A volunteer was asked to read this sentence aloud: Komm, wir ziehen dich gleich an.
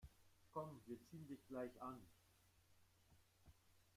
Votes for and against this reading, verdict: 1, 2, rejected